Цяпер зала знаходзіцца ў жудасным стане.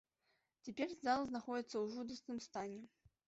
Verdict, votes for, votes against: accepted, 2, 0